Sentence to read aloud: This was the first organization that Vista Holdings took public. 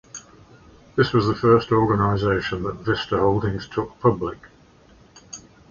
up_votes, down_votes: 2, 0